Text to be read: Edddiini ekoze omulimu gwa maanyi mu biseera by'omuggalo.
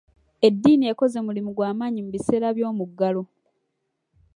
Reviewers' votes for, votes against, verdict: 0, 2, rejected